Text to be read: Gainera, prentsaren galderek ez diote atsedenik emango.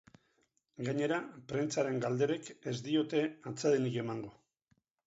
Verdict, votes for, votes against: rejected, 0, 4